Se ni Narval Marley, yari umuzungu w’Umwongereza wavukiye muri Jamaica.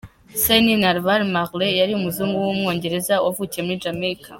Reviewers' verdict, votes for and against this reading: accepted, 2, 0